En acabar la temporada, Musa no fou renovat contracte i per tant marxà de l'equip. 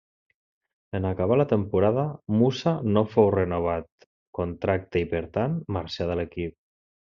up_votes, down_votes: 2, 0